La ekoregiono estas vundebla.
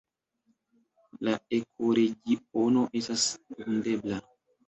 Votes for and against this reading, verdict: 1, 2, rejected